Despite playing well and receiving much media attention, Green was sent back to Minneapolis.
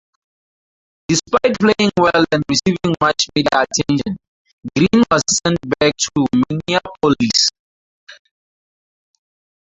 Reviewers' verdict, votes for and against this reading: rejected, 0, 4